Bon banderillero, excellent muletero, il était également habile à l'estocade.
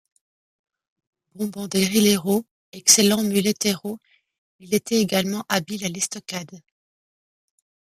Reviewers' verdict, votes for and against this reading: accepted, 2, 0